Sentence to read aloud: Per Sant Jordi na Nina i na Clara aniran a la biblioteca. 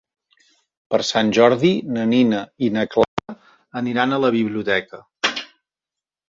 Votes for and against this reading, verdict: 0, 3, rejected